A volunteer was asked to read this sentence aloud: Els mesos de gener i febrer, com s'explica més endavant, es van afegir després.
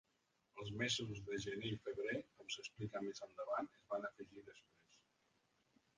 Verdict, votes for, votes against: rejected, 1, 2